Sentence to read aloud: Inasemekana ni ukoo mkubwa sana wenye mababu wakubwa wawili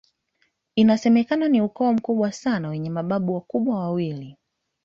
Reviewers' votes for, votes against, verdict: 0, 2, rejected